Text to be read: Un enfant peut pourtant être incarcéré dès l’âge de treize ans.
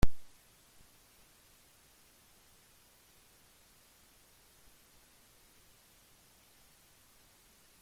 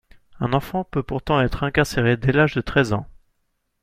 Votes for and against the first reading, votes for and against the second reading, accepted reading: 0, 2, 2, 0, second